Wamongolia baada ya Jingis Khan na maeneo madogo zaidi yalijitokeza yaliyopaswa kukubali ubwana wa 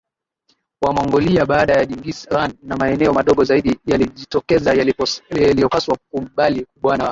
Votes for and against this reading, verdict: 0, 2, rejected